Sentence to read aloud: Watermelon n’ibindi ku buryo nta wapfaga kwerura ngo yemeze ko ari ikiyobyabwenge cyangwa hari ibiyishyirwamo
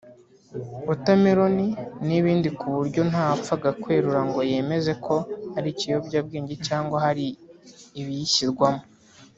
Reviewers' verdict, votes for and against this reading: accepted, 2, 0